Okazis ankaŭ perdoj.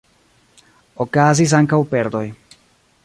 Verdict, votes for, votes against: accepted, 2, 0